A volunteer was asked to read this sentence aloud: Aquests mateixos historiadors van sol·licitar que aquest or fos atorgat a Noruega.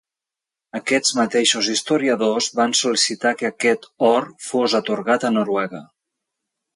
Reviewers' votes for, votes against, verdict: 2, 0, accepted